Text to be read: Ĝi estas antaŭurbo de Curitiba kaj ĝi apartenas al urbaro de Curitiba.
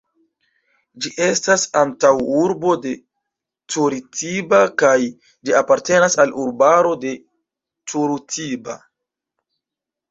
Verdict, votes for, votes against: rejected, 0, 2